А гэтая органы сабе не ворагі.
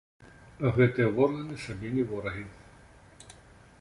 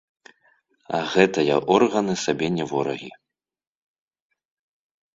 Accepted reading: first